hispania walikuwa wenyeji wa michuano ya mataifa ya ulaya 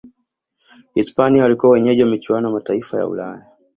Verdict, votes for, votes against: accepted, 2, 1